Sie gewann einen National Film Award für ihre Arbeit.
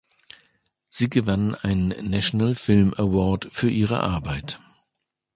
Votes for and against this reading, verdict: 2, 0, accepted